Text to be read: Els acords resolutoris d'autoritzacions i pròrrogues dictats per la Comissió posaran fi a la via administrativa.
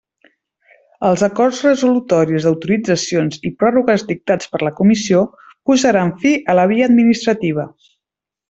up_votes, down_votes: 0, 2